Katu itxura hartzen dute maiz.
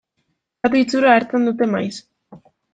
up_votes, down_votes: 1, 2